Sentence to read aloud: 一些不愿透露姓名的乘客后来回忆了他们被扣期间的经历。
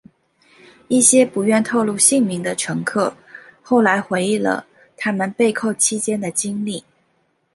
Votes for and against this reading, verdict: 2, 0, accepted